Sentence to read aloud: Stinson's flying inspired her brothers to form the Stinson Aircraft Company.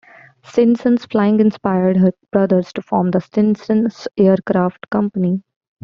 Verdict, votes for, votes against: rejected, 1, 2